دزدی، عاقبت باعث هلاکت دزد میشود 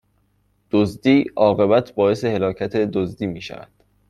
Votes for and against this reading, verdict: 1, 2, rejected